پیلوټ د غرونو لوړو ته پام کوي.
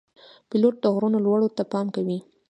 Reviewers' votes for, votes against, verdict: 2, 1, accepted